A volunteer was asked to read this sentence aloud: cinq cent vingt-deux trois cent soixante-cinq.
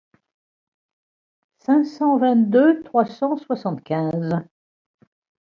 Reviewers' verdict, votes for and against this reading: rejected, 1, 2